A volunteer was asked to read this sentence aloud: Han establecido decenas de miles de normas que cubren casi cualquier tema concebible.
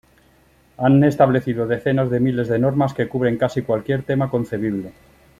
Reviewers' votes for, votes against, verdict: 2, 0, accepted